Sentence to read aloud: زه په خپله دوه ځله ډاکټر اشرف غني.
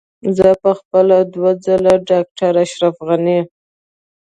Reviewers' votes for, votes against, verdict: 2, 1, accepted